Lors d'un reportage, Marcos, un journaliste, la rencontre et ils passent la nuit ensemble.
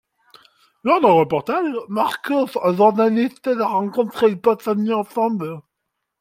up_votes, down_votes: 0, 2